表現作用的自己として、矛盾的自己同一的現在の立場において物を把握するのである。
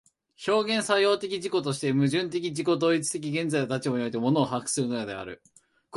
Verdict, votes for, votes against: accepted, 4, 1